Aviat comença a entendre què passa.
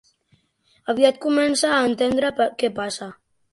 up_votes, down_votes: 3, 0